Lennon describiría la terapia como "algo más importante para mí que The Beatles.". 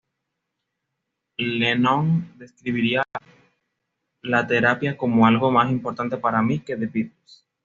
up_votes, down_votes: 2, 0